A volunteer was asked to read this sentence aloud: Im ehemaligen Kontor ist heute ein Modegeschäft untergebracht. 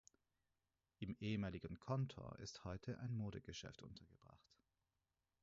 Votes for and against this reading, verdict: 2, 6, rejected